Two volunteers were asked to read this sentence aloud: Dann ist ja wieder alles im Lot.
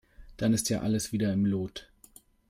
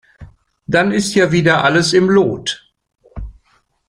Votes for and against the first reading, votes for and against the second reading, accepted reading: 1, 2, 2, 0, second